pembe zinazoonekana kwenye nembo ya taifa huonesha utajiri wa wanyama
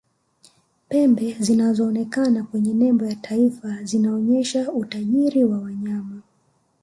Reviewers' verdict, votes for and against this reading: accepted, 2, 0